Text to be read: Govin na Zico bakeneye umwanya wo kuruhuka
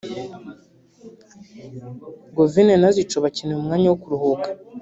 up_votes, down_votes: 0, 2